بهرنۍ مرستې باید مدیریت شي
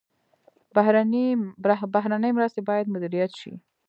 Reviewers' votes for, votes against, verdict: 2, 0, accepted